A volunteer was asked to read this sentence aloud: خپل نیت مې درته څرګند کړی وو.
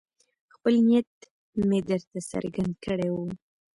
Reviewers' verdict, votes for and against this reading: accepted, 2, 1